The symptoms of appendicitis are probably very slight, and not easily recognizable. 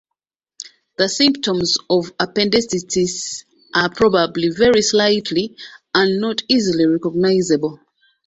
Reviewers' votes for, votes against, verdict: 0, 2, rejected